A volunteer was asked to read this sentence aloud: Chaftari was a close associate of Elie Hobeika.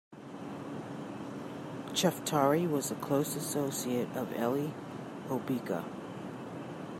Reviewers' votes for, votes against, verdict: 2, 0, accepted